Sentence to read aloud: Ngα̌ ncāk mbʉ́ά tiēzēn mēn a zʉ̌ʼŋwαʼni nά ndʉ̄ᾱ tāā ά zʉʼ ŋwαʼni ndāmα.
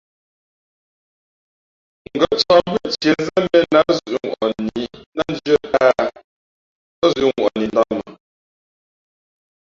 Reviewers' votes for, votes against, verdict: 0, 2, rejected